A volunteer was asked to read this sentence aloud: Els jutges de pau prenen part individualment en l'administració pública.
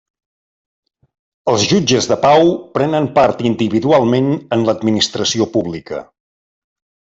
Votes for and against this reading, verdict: 3, 0, accepted